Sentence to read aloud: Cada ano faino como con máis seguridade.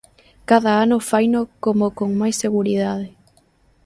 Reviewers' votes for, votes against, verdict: 2, 0, accepted